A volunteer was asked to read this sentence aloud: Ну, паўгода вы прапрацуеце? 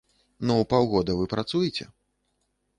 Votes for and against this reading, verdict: 0, 2, rejected